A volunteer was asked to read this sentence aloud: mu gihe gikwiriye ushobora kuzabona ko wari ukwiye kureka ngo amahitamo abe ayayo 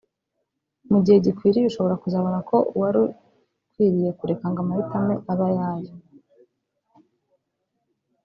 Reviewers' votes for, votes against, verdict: 1, 2, rejected